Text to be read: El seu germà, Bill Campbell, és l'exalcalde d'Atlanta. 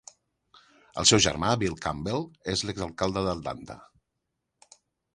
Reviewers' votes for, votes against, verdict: 1, 2, rejected